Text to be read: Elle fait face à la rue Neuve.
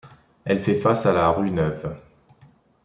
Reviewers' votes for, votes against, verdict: 2, 0, accepted